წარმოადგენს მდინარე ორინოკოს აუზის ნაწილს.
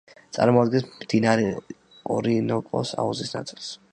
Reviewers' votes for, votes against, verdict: 2, 1, accepted